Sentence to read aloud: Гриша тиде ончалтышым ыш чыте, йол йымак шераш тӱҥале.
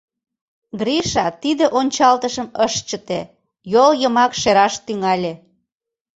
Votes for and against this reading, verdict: 2, 0, accepted